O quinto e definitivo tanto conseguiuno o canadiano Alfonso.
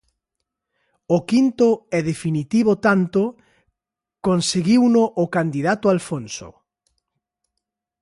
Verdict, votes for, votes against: rejected, 0, 2